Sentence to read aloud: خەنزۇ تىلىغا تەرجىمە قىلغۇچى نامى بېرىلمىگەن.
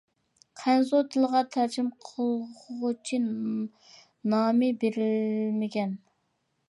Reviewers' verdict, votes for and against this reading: rejected, 0, 2